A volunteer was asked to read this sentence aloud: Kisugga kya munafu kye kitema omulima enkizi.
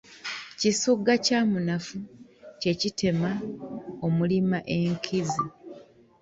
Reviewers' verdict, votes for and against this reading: accepted, 2, 0